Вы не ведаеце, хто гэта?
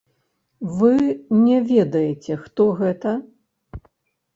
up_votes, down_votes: 2, 3